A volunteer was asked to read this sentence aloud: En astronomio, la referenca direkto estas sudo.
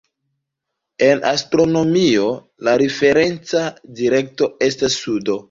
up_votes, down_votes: 1, 2